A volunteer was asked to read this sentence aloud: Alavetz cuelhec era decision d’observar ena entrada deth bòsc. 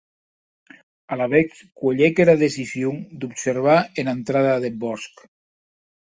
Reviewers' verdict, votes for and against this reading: accepted, 2, 0